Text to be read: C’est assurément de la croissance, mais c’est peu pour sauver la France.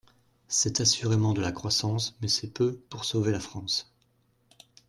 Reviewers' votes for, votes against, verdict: 2, 0, accepted